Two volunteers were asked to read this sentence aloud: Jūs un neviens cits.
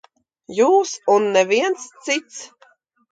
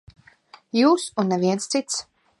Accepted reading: first